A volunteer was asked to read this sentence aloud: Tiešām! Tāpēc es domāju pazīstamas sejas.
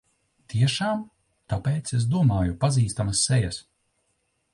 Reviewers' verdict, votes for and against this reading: accepted, 2, 0